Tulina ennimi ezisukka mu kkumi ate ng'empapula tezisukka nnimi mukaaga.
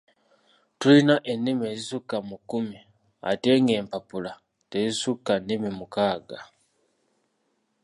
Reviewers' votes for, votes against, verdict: 2, 0, accepted